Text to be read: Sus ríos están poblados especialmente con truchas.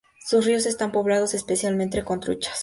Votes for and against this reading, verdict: 2, 0, accepted